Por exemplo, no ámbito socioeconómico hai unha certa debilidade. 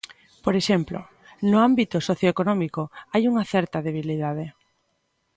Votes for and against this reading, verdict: 2, 0, accepted